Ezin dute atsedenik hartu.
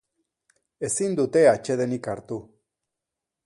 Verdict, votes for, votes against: accepted, 4, 0